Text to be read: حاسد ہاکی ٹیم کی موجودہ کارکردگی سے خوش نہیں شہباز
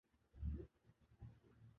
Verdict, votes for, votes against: rejected, 0, 2